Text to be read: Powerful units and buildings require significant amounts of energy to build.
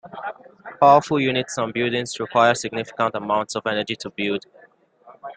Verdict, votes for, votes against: accepted, 2, 0